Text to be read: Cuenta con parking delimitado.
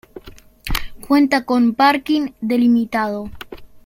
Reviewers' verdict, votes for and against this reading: accepted, 2, 0